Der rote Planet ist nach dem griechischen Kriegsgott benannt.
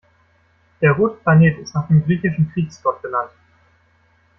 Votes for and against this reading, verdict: 1, 2, rejected